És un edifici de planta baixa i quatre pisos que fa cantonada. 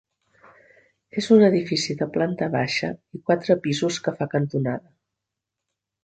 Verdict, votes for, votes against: rejected, 1, 2